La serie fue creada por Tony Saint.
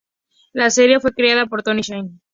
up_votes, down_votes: 2, 0